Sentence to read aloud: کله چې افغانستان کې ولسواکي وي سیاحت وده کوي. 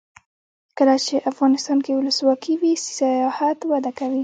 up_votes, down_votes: 0, 2